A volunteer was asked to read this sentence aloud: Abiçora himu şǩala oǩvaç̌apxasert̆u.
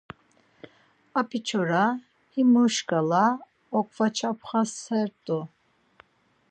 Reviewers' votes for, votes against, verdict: 2, 4, rejected